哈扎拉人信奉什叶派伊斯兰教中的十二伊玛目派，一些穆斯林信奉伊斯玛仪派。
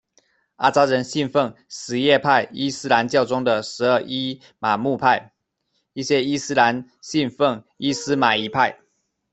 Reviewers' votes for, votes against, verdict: 0, 2, rejected